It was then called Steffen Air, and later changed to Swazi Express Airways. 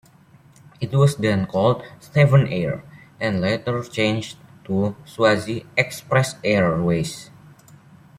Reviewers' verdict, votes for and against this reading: accepted, 2, 0